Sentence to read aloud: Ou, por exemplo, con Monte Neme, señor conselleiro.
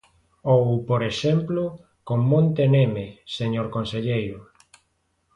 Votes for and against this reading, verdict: 2, 0, accepted